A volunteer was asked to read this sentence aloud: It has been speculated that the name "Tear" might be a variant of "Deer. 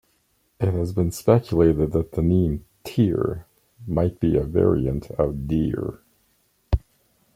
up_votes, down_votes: 2, 0